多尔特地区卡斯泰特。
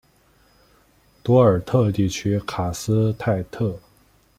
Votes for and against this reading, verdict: 1, 2, rejected